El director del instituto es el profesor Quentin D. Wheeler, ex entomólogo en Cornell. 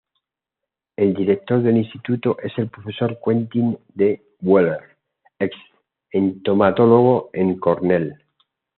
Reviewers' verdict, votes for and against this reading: accepted, 2, 0